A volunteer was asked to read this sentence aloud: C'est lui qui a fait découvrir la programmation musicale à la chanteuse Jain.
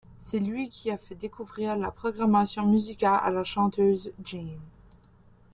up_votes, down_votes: 2, 1